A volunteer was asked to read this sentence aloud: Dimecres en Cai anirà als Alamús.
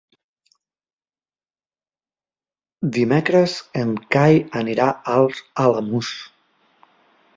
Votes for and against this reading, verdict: 2, 0, accepted